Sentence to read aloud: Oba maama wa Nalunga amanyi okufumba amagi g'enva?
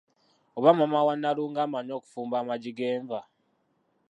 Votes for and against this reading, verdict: 0, 2, rejected